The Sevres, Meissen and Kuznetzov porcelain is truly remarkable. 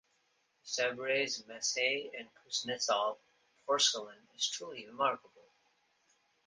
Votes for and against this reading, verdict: 2, 0, accepted